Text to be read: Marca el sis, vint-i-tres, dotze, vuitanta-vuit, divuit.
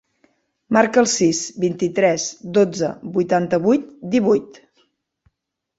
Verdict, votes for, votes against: accepted, 3, 0